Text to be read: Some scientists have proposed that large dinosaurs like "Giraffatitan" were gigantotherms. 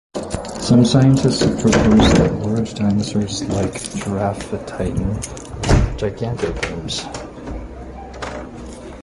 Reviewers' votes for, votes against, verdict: 0, 2, rejected